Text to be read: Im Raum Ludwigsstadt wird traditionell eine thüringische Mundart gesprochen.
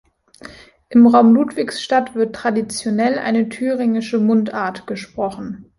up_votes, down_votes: 2, 0